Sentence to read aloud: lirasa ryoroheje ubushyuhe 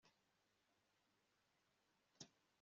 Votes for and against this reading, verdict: 1, 2, rejected